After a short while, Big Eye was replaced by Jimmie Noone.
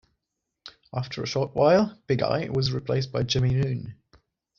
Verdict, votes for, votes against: rejected, 1, 2